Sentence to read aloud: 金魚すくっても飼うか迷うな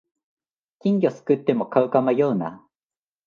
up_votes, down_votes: 3, 0